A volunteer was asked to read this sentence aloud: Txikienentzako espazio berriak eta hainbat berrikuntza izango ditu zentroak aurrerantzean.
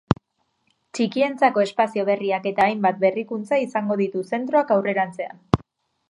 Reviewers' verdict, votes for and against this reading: rejected, 1, 2